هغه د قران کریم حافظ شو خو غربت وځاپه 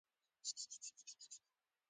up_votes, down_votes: 0, 2